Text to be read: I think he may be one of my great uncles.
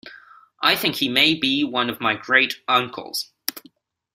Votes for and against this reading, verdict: 2, 0, accepted